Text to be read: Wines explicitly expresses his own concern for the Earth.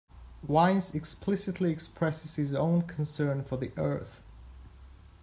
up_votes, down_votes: 2, 0